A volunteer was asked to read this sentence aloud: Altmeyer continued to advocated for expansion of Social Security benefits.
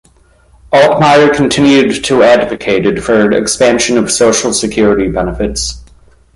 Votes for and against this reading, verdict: 2, 0, accepted